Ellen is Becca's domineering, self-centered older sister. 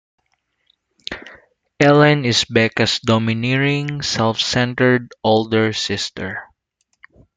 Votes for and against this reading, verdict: 2, 0, accepted